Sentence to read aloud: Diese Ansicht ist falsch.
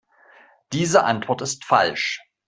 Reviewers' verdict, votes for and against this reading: rejected, 0, 2